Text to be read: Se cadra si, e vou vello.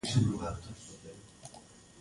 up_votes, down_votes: 0, 2